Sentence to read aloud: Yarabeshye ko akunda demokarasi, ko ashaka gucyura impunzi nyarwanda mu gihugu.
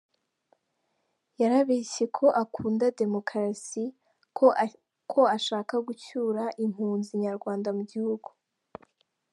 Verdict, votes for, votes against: rejected, 1, 2